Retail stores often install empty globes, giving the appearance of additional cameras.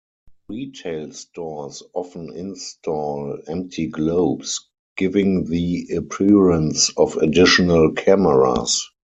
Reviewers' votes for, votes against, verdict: 2, 4, rejected